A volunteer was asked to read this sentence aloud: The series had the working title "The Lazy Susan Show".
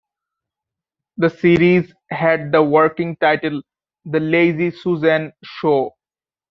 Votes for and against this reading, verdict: 3, 0, accepted